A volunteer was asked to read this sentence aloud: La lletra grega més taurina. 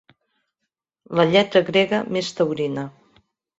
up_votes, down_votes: 2, 0